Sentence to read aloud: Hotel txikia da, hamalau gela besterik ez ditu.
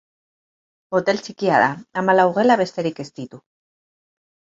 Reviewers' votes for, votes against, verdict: 4, 0, accepted